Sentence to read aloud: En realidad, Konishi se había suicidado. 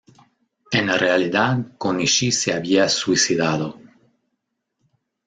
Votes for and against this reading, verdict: 1, 2, rejected